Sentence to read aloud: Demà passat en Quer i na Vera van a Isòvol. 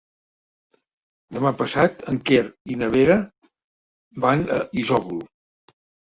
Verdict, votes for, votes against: accepted, 3, 1